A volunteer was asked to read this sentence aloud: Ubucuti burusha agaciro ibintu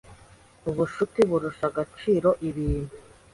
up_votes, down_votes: 2, 0